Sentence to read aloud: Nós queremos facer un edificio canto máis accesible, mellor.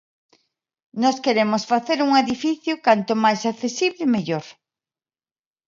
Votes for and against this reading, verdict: 2, 0, accepted